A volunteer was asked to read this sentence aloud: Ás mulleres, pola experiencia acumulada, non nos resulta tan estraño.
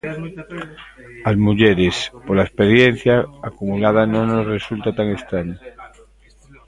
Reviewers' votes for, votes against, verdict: 0, 2, rejected